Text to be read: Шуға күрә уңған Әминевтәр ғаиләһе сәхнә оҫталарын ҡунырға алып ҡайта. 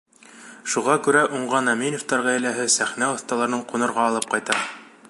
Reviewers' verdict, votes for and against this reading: accepted, 2, 0